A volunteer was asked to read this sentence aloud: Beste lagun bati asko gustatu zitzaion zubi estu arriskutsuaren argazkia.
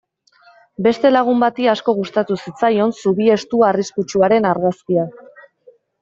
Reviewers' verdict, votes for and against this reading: accepted, 2, 0